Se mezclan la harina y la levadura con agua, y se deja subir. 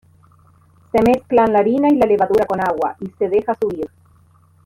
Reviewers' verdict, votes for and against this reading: rejected, 0, 2